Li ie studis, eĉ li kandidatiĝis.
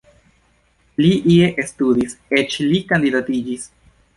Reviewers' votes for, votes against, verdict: 0, 2, rejected